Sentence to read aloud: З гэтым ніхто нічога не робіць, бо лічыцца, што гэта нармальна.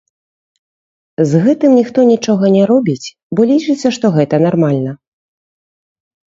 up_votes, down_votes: 0, 2